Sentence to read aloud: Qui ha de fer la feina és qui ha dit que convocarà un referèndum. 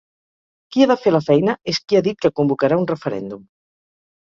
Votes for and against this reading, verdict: 2, 4, rejected